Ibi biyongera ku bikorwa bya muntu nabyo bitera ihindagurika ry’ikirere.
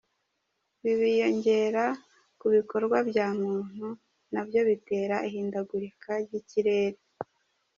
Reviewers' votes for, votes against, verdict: 2, 0, accepted